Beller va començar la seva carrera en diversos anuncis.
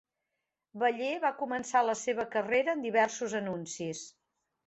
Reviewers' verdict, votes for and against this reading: accepted, 2, 0